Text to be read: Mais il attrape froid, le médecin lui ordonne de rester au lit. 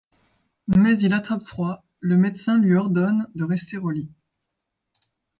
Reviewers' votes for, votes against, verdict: 2, 0, accepted